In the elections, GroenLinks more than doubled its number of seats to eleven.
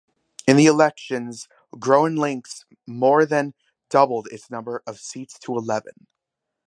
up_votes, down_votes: 2, 0